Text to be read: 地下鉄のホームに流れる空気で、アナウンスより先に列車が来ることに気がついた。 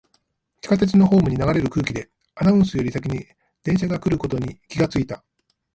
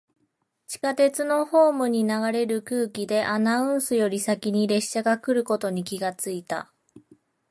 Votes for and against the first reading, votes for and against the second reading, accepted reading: 1, 2, 2, 1, second